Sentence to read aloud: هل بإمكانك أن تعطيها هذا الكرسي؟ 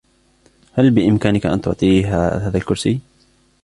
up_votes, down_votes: 2, 0